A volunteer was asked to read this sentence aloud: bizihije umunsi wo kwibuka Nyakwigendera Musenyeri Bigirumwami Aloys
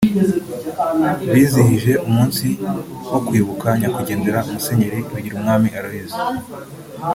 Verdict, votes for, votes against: accepted, 2, 0